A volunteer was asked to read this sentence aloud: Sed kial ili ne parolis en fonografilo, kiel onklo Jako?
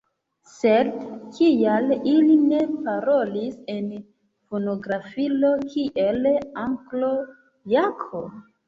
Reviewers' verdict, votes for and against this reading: rejected, 1, 2